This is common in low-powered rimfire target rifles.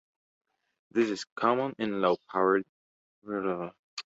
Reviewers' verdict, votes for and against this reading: rejected, 1, 2